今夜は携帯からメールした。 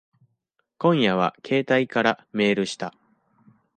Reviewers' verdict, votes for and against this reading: accepted, 2, 0